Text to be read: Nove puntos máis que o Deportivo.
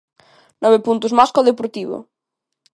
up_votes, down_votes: 2, 1